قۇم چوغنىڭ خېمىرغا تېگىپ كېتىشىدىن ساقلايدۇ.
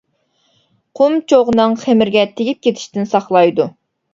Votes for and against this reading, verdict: 1, 2, rejected